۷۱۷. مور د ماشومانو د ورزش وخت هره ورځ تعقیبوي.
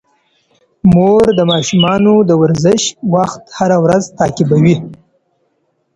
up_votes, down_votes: 0, 2